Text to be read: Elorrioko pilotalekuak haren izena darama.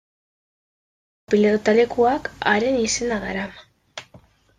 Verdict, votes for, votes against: rejected, 0, 2